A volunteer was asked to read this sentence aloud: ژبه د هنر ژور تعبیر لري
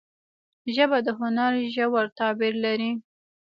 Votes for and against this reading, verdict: 1, 2, rejected